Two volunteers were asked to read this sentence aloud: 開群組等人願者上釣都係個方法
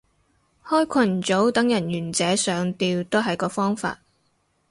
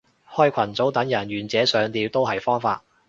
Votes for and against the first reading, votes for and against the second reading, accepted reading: 4, 0, 1, 2, first